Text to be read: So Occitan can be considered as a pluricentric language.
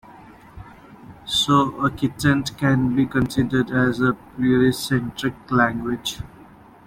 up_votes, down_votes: 1, 2